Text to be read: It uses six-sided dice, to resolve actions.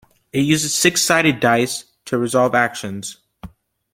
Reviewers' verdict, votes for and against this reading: accepted, 2, 0